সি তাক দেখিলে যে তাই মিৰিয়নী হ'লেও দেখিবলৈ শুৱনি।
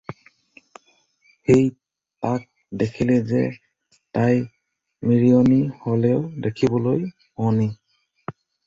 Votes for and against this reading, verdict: 2, 0, accepted